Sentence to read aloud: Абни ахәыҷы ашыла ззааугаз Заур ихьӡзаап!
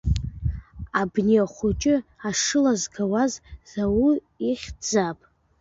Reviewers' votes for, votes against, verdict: 1, 2, rejected